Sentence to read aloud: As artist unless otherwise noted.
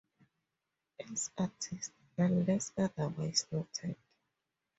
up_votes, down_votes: 0, 2